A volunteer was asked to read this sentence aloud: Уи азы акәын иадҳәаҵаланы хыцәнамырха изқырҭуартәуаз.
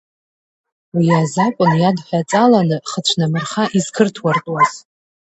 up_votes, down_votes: 0, 2